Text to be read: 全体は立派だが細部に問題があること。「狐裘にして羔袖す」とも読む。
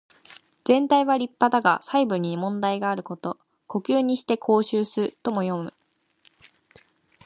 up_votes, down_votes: 2, 0